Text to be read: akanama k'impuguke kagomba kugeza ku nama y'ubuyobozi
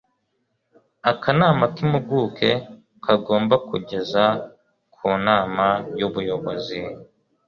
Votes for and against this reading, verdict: 2, 0, accepted